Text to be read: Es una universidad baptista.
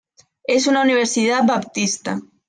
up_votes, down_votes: 2, 0